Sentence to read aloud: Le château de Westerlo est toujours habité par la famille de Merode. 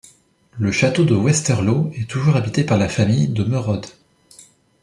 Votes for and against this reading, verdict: 2, 0, accepted